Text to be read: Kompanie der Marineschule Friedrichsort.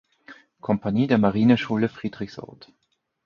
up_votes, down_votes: 4, 0